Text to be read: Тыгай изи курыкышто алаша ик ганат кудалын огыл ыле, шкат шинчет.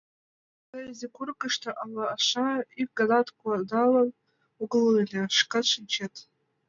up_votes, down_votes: 0, 2